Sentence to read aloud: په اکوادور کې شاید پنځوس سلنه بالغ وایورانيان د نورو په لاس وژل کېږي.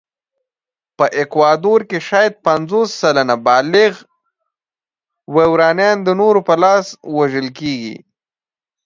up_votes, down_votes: 2, 0